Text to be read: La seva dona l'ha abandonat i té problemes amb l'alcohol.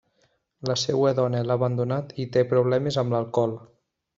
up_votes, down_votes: 1, 2